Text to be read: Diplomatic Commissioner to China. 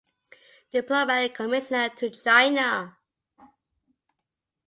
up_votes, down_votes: 1, 2